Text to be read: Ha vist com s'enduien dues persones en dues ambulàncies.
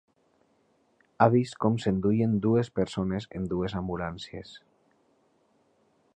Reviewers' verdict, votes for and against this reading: accepted, 3, 0